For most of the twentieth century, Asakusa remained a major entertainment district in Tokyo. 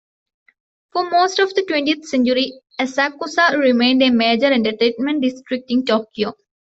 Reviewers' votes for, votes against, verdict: 2, 0, accepted